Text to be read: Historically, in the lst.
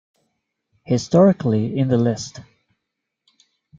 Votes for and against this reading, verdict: 0, 2, rejected